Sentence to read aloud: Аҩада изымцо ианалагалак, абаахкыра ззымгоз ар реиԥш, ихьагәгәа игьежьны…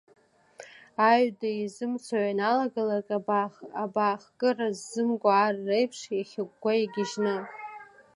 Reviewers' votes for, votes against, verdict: 3, 2, accepted